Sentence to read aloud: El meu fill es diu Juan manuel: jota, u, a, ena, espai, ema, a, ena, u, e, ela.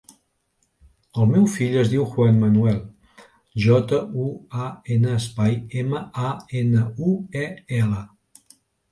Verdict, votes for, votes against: accepted, 3, 0